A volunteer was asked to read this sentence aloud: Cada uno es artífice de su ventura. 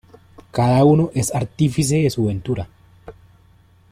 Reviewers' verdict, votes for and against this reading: accepted, 2, 1